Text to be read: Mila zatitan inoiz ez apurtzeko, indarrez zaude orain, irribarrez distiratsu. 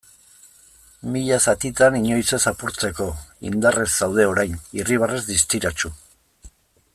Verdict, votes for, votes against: accepted, 2, 0